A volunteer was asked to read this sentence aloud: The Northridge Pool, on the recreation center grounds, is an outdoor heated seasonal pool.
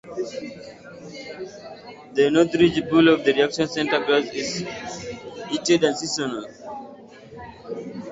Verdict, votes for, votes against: rejected, 0, 2